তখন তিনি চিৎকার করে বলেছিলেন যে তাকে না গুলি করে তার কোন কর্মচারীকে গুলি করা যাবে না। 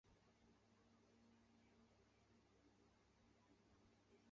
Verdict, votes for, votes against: rejected, 0, 2